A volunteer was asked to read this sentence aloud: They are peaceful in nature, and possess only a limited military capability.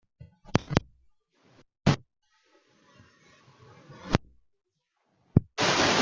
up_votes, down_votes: 0, 2